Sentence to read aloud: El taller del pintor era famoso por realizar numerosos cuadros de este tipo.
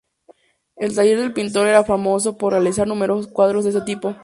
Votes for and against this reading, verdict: 0, 2, rejected